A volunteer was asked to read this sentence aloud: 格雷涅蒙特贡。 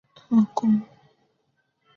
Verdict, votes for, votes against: rejected, 0, 2